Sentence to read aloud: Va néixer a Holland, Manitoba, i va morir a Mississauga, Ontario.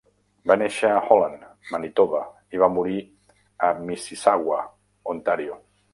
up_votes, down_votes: 0, 2